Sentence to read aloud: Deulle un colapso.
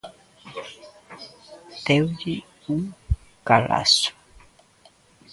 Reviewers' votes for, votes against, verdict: 0, 2, rejected